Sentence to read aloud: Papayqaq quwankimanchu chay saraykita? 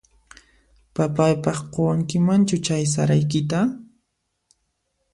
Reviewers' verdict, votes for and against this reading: rejected, 1, 2